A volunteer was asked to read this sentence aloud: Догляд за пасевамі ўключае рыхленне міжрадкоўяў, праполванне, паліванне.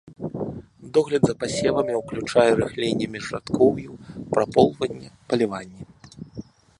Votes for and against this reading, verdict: 1, 2, rejected